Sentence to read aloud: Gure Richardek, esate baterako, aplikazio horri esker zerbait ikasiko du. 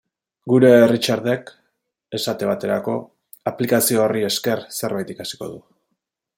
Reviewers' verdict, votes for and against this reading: accepted, 2, 0